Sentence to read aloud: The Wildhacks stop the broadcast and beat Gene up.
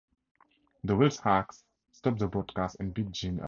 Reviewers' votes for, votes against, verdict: 0, 2, rejected